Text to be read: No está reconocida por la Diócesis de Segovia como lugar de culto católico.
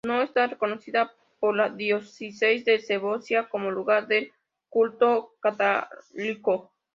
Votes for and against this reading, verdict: 2, 0, accepted